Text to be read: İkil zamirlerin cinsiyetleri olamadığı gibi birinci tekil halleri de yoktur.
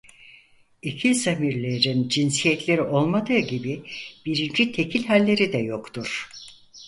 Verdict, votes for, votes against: rejected, 2, 4